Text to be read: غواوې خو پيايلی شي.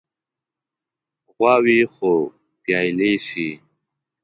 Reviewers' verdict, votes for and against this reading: rejected, 0, 2